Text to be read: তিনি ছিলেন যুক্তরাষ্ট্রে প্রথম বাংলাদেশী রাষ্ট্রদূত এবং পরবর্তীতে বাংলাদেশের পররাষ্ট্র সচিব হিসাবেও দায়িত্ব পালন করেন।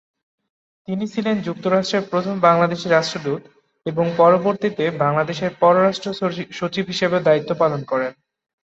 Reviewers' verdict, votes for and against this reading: rejected, 0, 2